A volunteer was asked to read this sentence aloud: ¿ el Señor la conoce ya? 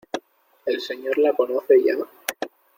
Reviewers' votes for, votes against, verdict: 2, 0, accepted